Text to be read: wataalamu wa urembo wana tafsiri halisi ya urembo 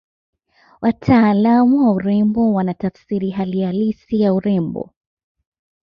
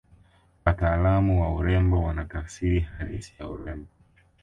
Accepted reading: second